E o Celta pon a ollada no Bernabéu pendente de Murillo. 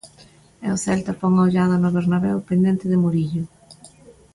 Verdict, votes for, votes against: accepted, 2, 0